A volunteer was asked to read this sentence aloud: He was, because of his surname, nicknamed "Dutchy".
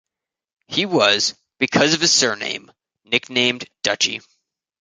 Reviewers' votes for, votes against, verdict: 2, 0, accepted